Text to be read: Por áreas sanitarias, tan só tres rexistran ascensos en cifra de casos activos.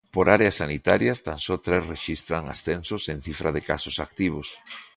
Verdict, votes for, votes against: accepted, 2, 0